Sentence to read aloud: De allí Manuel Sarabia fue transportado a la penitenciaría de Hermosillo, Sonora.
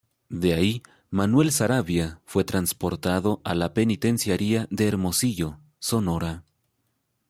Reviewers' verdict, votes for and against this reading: rejected, 1, 2